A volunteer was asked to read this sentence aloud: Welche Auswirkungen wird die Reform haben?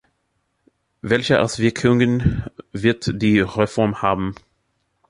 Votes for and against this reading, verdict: 2, 0, accepted